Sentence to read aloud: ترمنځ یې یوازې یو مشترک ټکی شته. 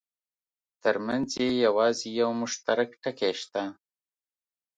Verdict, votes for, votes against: accepted, 2, 0